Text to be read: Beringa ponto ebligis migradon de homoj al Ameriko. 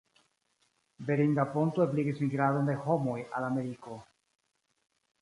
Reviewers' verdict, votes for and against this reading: accepted, 2, 1